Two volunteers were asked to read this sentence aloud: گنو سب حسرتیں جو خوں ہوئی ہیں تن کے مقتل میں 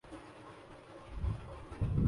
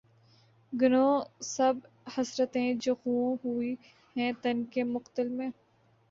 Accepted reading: second